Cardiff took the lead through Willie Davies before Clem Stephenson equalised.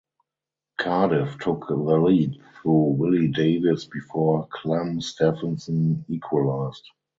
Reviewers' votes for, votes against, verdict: 2, 4, rejected